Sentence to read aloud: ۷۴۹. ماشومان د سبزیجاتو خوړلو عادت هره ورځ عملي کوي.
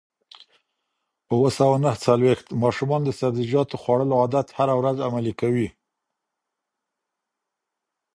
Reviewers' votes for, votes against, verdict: 0, 2, rejected